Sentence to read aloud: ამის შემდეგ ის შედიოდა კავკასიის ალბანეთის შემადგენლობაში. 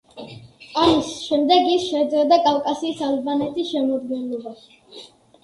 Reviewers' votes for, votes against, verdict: 2, 1, accepted